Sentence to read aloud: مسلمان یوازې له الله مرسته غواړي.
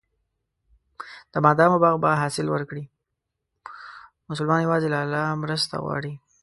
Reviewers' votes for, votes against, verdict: 1, 2, rejected